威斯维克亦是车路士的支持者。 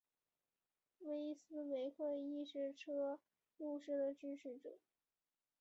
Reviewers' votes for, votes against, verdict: 2, 0, accepted